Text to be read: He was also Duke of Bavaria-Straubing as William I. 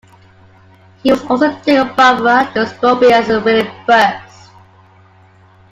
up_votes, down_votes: 0, 2